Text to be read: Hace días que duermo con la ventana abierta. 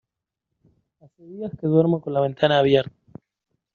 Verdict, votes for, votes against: rejected, 1, 2